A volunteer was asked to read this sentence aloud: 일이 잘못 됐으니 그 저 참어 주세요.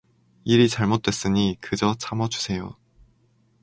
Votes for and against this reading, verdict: 4, 0, accepted